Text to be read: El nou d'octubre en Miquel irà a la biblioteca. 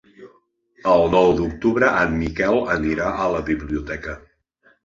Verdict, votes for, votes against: rejected, 0, 2